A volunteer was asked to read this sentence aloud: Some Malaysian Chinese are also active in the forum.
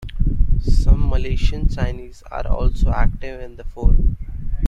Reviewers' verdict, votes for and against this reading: accepted, 3, 1